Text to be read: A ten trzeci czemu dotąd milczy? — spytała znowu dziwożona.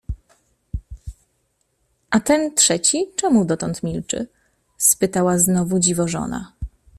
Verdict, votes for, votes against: accepted, 2, 0